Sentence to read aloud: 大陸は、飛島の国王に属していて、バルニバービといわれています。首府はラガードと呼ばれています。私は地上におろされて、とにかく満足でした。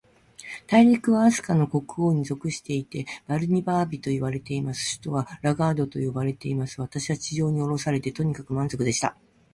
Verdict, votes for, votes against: accepted, 2, 0